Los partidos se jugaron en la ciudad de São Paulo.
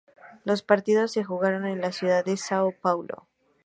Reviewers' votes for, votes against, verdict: 2, 0, accepted